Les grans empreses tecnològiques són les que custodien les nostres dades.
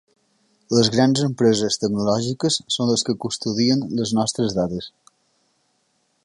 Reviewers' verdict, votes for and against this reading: accepted, 3, 0